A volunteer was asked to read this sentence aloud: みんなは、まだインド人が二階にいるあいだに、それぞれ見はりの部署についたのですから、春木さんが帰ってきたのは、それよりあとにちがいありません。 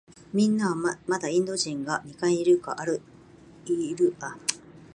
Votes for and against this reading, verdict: 0, 2, rejected